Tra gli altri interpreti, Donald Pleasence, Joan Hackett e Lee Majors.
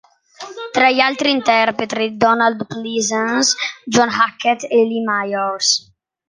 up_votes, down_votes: 1, 2